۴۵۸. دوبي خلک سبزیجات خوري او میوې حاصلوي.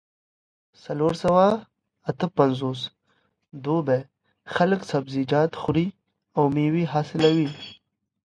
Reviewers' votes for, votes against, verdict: 0, 2, rejected